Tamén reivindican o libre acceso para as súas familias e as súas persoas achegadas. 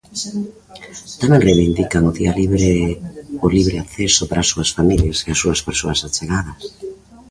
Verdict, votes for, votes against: rejected, 0, 2